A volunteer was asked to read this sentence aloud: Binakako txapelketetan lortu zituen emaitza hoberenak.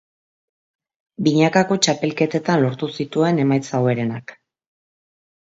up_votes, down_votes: 2, 0